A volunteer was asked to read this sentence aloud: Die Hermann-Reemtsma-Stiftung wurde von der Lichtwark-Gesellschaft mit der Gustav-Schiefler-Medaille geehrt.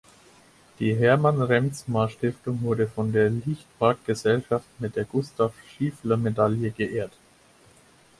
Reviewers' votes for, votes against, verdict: 4, 0, accepted